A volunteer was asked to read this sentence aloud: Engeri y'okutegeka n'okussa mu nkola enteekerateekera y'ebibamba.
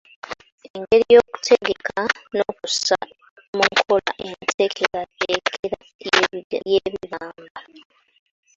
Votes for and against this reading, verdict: 0, 2, rejected